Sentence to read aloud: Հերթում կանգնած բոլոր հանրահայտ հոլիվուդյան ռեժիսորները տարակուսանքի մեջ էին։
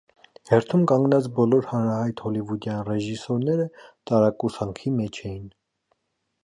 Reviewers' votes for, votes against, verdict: 2, 0, accepted